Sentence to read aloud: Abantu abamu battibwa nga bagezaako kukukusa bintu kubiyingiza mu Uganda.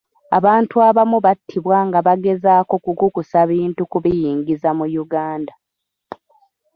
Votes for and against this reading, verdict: 2, 1, accepted